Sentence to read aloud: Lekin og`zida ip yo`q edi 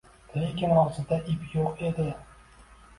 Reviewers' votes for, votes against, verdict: 0, 2, rejected